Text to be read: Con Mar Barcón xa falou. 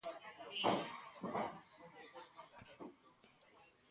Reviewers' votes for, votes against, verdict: 0, 2, rejected